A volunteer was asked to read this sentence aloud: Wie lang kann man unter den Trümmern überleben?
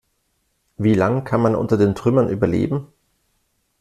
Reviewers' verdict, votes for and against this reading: accepted, 3, 0